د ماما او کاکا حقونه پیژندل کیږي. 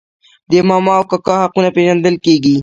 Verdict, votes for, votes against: rejected, 1, 2